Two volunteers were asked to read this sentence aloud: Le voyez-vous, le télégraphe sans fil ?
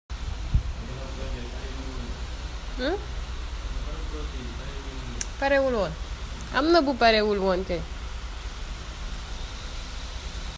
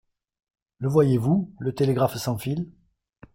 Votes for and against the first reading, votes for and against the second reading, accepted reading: 0, 2, 2, 0, second